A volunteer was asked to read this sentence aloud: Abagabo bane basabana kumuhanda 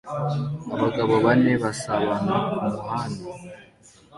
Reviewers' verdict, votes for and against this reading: accepted, 2, 0